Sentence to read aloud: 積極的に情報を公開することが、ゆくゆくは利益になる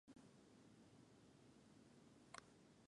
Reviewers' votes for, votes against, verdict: 0, 3, rejected